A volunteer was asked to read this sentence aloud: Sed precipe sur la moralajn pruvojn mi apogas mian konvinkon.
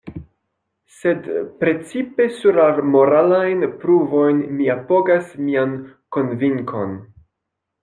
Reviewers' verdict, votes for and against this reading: accepted, 2, 1